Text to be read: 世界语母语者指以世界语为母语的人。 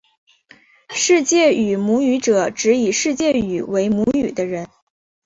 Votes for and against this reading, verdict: 2, 0, accepted